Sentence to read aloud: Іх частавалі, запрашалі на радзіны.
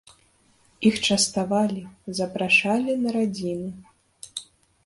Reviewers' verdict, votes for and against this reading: accepted, 2, 0